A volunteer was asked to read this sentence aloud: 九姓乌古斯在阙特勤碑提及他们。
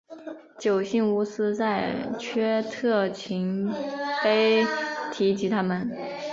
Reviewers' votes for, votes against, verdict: 2, 1, accepted